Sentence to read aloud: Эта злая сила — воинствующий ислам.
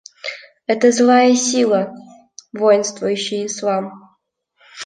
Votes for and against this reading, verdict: 0, 2, rejected